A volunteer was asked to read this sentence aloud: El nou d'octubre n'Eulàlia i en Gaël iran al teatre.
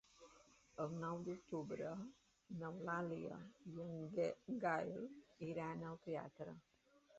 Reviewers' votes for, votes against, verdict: 1, 3, rejected